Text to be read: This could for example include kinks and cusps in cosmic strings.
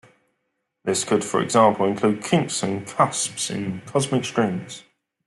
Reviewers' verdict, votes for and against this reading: accepted, 2, 0